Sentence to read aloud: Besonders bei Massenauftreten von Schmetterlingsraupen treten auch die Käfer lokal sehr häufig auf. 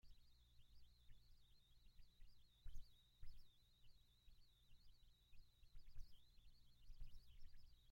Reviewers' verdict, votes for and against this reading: rejected, 0, 2